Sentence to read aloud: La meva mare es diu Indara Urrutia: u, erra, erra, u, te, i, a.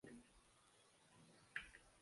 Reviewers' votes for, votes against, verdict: 0, 2, rejected